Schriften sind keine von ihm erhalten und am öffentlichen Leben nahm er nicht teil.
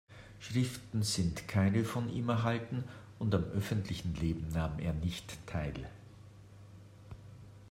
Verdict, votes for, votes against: accepted, 2, 0